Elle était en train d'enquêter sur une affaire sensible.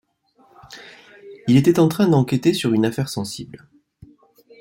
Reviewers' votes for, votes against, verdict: 1, 2, rejected